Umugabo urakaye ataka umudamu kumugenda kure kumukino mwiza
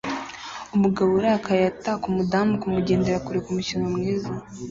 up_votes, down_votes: 2, 0